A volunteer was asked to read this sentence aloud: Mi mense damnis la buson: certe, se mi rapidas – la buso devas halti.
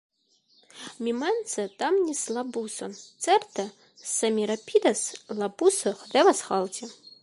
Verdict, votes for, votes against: accepted, 2, 1